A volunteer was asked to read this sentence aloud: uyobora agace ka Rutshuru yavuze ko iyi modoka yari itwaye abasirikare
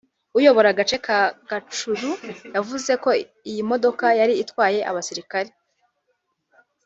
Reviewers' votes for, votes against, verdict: 0, 2, rejected